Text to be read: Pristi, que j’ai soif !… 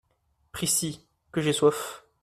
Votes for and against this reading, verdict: 1, 2, rejected